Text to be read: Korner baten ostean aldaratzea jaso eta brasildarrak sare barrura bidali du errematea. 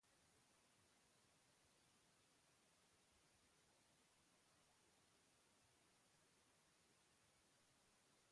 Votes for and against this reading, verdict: 0, 2, rejected